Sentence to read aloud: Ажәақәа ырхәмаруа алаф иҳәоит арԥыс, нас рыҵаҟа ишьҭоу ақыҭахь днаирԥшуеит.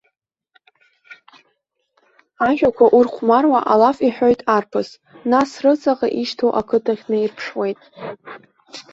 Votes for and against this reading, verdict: 0, 2, rejected